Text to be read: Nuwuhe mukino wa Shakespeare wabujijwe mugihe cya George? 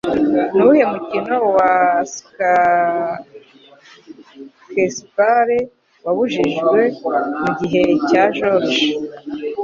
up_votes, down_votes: 3, 0